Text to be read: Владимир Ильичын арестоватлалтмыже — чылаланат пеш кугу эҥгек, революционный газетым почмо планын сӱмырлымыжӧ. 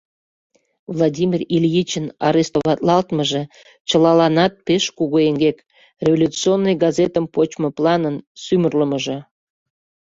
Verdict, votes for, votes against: accepted, 2, 0